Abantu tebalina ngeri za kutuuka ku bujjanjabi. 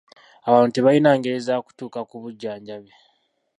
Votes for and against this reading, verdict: 2, 1, accepted